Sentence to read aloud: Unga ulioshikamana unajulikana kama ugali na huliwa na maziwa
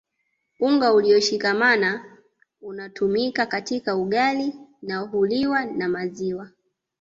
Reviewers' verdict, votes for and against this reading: rejected, 0, 2